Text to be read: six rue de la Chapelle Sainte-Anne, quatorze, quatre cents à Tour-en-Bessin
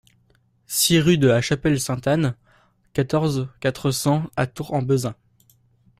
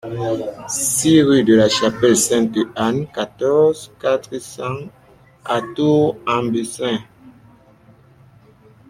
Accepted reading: second